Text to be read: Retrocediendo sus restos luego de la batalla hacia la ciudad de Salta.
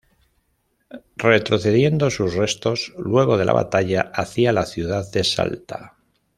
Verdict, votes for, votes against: rejected, 1, 2